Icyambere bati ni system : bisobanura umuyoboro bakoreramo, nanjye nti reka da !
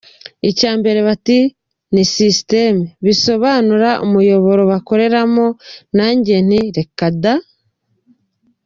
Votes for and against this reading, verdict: 2, 0, accepted